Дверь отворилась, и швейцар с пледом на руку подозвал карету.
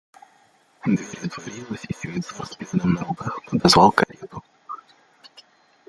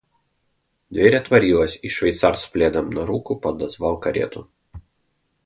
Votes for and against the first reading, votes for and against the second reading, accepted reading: 0, 2, 2, 0, second